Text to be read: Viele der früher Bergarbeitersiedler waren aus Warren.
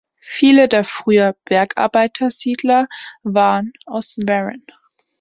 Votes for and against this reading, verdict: 2, 0, accepted